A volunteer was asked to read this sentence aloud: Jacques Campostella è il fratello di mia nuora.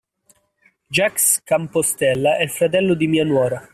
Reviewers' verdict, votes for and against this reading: accepted, 2, 1